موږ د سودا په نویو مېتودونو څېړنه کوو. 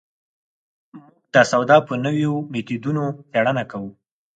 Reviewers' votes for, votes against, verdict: 4, 0, accepted